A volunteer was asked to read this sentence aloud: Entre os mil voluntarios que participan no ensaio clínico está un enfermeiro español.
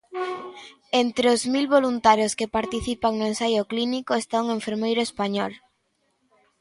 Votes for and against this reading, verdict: 2, 0, accepted